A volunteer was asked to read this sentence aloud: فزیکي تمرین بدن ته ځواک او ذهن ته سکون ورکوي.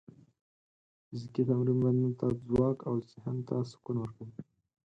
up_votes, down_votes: 4, 0